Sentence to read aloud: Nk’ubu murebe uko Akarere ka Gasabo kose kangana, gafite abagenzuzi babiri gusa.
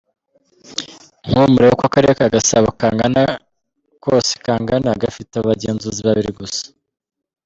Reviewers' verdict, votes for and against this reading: rejected, 1, 2